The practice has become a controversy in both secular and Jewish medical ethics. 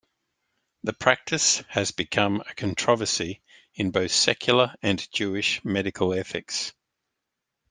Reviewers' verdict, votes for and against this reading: rejected, 0, 2